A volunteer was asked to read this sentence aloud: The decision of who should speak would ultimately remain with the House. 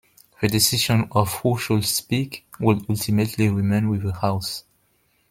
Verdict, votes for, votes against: rejected, 0, 2